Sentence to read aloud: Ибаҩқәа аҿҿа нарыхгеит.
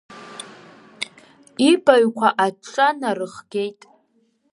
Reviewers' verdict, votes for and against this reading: rejected, 0, 2